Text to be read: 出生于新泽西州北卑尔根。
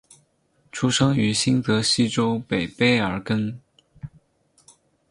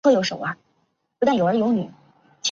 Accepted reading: first